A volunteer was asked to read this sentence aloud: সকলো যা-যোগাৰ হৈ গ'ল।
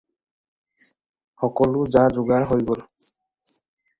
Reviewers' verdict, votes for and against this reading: accepted, 4, 0